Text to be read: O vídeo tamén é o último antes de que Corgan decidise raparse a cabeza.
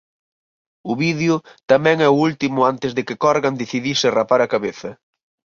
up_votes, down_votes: 10, 22